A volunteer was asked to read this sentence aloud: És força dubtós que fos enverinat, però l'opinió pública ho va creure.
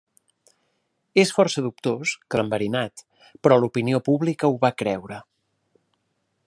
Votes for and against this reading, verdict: 1, 2, rejected